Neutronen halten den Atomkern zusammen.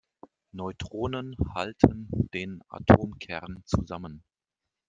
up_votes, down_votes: 2, 1